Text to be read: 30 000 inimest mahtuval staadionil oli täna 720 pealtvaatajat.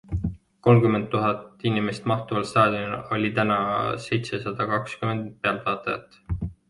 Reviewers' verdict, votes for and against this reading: rejected, 0, 2